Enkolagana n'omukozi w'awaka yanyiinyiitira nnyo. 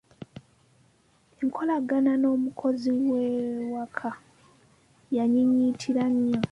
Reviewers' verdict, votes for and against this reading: rejected, 1, 2